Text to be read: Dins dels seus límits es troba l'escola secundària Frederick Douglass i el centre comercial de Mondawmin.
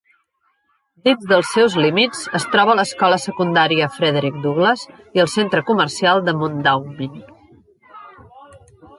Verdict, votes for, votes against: rejected, 0, 2